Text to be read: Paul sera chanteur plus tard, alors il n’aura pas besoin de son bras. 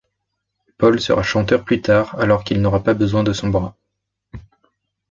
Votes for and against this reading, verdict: 0, 2, rejected